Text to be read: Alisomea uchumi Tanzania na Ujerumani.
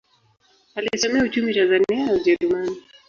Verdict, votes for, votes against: rejected, 0, 2